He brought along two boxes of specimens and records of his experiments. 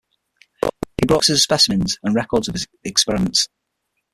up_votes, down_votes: 0, 6